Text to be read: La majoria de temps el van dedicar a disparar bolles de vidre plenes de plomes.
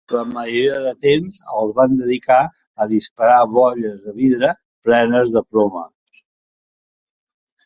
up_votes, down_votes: 2, 0